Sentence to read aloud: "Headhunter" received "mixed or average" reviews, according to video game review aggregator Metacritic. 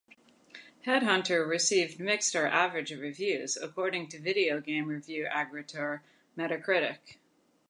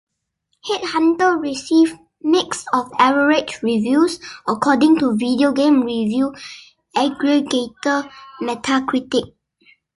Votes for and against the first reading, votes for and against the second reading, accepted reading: 2, 1, 0, 2, first